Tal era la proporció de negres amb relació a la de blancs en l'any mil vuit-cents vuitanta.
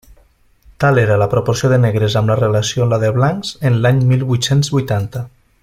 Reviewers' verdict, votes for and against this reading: rejected, 1, 2